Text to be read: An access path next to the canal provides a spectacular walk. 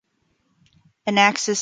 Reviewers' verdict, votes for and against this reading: rejected, 0, 3